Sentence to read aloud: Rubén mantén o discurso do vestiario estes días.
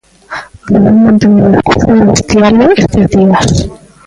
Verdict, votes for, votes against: rejected, 0, 3